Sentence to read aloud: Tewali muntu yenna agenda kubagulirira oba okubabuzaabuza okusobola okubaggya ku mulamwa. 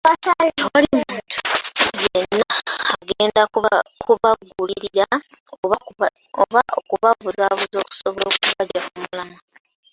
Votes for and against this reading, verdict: 0, 2, rejected